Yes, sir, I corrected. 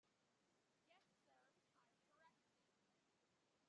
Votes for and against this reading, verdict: 0, 2, rejected